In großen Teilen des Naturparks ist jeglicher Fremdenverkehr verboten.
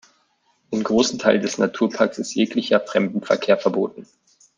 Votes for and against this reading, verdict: 2, 1, accepted